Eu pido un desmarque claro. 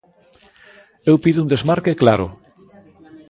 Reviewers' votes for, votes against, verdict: 1, 2, rejected